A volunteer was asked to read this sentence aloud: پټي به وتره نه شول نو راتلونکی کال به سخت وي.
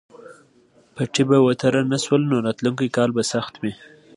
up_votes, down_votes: 2, 0